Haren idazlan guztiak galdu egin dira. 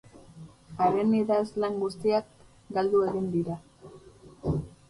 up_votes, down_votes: 2, 2